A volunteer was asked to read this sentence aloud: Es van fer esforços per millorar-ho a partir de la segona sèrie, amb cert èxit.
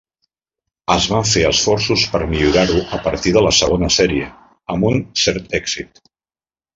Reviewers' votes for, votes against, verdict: 0, 2, rejected